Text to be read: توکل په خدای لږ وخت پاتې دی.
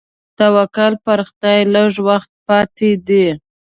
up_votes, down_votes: 2, 0